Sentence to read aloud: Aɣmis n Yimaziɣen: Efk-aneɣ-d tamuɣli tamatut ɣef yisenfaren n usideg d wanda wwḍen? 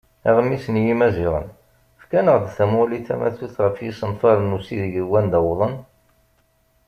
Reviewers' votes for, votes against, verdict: 2, 0, accepted